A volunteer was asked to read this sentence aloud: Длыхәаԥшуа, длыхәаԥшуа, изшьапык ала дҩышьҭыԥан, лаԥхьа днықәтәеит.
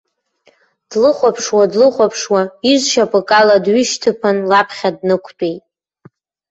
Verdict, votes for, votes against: accepted, 2, 0